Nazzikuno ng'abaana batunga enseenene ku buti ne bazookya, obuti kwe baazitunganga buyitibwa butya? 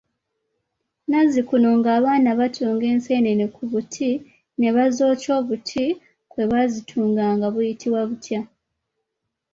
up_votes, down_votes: 2, 1